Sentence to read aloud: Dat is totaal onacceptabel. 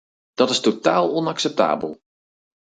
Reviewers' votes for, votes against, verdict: 4, 0, accepted